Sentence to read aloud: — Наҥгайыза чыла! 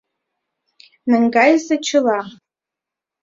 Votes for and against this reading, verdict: 2, 1, accepted